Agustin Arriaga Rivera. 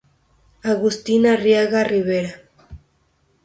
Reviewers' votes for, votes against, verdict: 2, 0, accepted